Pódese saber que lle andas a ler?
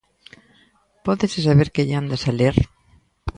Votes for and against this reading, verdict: 2, 0, accepted